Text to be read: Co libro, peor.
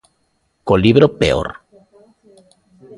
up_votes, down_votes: 2, 0